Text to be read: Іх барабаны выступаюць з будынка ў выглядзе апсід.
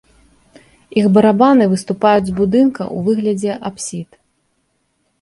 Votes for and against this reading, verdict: 1, 2, rejected